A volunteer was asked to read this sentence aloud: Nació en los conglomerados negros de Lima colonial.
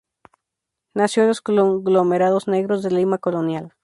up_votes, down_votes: 2, 0